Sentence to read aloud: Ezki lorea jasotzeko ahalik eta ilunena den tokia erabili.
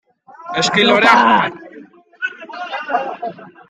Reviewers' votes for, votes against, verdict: 0, 2, rejected